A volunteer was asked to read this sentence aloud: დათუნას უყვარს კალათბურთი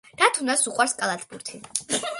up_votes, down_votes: 2, 0